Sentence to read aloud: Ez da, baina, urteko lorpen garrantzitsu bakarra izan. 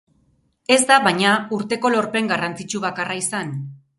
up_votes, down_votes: 4, 0